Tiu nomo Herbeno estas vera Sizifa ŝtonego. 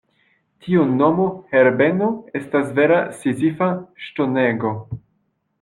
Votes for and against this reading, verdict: 2, 1, accepted